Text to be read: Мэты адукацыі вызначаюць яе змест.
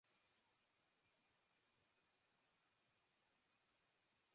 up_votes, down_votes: 0, 2